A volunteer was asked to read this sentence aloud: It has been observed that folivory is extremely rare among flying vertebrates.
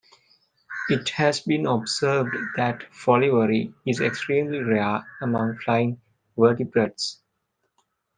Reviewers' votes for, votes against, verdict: 2, 0, accepted